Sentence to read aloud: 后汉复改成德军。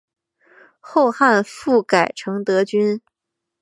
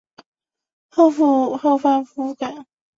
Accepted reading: first